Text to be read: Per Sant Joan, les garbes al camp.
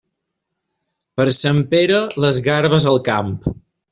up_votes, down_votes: 0, 2